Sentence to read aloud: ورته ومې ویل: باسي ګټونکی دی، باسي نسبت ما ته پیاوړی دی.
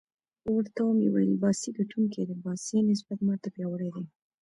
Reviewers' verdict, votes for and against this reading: rejected, 0, 2